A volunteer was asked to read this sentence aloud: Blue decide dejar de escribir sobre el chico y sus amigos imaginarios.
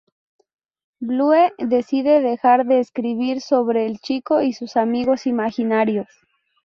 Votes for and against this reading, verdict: 0, 2, rejected